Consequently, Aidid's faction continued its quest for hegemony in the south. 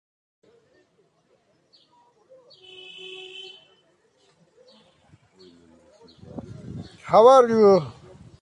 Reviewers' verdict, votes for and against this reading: rejected, 0, 2